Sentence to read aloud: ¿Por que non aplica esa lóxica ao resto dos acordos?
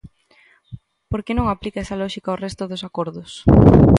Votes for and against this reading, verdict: 2, 0, accepted